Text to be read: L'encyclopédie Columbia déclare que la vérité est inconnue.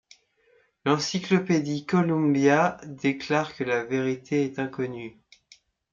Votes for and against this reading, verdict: 2, 0, accepted